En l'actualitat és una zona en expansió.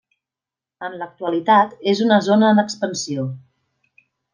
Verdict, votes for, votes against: accepted, 2, 0